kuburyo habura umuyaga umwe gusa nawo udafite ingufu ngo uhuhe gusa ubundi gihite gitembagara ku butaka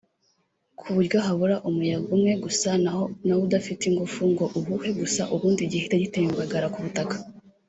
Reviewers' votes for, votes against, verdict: 1, 2, rejected